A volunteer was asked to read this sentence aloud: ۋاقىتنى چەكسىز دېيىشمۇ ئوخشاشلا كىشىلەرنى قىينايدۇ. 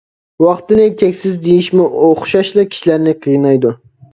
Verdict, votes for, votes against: rejected, 0, 2